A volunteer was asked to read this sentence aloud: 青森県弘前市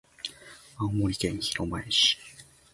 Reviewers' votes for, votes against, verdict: 1, 2, rejected